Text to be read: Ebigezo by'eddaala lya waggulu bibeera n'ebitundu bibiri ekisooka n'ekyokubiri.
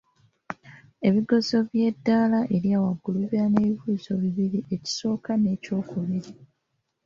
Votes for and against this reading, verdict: 0, 2, rejected